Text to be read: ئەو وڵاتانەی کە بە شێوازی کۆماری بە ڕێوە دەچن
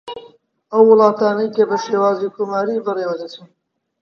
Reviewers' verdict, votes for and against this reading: rejected, 0, 2